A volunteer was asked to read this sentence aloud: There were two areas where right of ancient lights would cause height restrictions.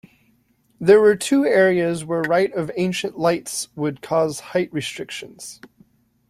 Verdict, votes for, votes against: accepted, 2, 0